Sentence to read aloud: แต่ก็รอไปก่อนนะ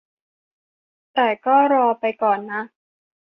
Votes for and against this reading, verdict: 2, 0, accepted